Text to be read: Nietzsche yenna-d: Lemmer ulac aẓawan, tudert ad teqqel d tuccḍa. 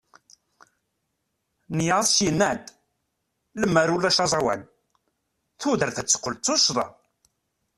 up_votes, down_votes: 0, 2